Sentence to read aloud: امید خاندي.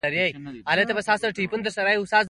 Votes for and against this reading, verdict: 2, 1, accepted